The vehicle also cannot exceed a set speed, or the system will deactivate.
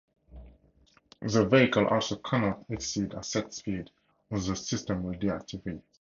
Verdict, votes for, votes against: rejected, 2, 2